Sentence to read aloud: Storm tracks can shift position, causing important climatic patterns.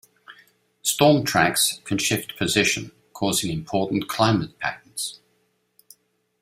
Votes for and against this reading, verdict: 0, 2, rejected